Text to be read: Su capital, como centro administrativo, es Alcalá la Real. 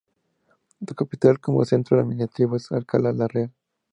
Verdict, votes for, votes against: rejected, 0, 2